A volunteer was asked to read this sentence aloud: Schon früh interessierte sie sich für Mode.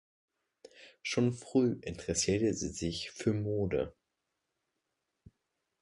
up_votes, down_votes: 2, 1